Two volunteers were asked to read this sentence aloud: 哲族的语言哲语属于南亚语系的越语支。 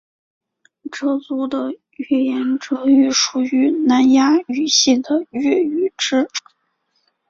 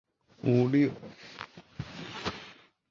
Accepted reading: first